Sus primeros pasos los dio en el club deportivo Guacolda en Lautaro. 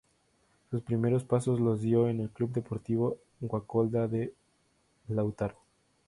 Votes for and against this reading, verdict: 0, 4, rejected